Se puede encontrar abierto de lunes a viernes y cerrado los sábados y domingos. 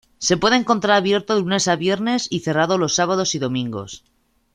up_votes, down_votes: 2, 0